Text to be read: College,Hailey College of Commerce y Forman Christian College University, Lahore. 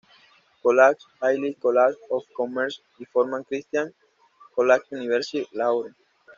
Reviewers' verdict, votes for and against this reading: rejected, 1, 2